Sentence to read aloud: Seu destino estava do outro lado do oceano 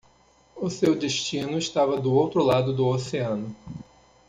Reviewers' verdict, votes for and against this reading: rejected, 0, 2